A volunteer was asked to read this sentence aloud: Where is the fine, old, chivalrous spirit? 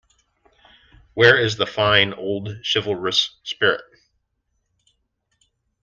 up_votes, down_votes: 2, 0